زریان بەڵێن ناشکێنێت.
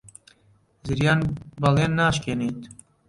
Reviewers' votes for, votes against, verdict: 1, 2, rejected